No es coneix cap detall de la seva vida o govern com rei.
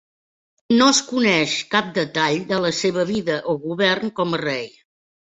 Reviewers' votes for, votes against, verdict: 1, 2, rejected